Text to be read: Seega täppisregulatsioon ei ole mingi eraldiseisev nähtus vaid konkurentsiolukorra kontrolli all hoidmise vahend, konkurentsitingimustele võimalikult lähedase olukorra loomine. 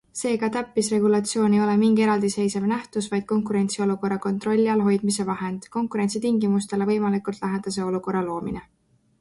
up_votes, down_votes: 2, 0